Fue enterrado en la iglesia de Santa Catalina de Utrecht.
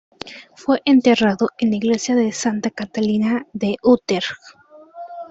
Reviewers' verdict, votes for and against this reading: accepted, 2, 0